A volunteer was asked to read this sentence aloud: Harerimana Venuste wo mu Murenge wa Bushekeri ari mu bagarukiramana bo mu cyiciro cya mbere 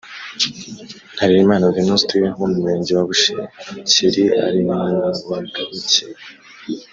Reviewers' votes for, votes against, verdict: 0, 2, rejected